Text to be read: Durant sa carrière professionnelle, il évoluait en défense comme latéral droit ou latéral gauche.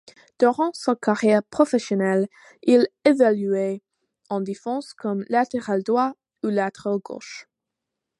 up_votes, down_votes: 1, 2